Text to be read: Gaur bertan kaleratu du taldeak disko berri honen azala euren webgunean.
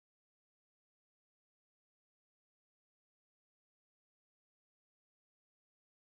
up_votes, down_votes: 0, 3